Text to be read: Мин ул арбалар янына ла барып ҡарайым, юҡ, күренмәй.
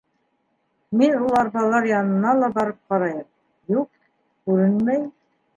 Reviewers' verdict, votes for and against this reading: accepted, 2, 1